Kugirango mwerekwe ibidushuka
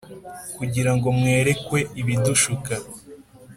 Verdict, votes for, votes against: accepted, 2, 0